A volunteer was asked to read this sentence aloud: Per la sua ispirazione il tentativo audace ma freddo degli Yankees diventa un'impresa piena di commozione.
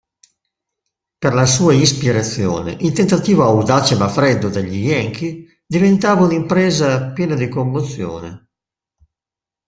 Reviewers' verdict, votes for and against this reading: rejected, 0, 2